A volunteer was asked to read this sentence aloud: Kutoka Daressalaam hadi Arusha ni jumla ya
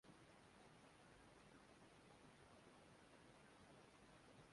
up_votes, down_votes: 0, 2